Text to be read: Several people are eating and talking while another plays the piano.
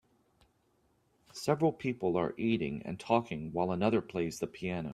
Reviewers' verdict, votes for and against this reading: accepted, 2, 1